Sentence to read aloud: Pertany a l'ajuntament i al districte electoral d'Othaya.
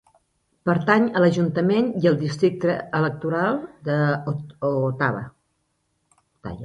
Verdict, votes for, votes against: rejected, 0, 2